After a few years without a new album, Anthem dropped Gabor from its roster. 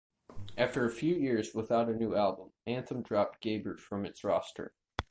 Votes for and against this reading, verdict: 4, 0, accepted